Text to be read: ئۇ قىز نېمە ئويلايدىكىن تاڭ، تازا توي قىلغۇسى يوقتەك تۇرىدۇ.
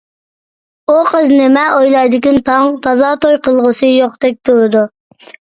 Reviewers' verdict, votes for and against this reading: accepted, 2, 0